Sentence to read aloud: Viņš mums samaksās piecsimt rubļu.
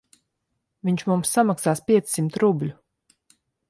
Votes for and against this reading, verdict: 2, 0, accepted